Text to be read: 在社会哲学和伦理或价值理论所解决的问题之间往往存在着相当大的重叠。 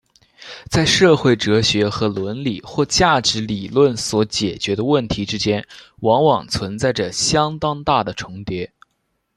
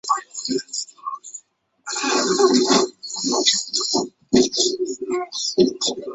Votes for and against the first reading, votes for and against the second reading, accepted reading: 2, 0, 0, 2, first